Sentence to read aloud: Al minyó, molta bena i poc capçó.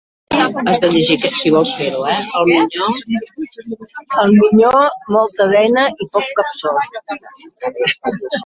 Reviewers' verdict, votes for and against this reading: rejected, 0, 2